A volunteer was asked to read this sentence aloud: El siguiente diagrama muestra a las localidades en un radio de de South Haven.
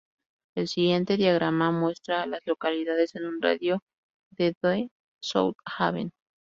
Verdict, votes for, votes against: rejected, 2, 4